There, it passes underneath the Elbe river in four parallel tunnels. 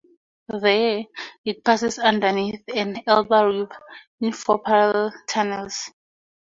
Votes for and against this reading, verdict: 0, 2, rejected